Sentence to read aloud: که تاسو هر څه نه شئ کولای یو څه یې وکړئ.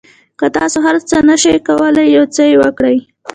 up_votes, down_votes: 1, 2